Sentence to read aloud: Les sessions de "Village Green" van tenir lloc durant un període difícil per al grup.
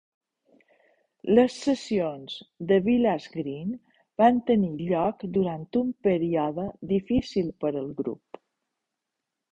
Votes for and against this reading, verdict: 2, 0, accepted